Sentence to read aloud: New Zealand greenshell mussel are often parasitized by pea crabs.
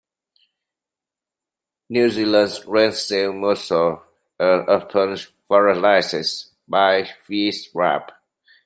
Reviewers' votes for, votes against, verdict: 0, 2, rejected